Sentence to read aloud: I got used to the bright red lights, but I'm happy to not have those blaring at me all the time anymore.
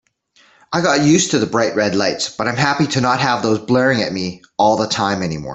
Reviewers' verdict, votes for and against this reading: rejected, 1, 2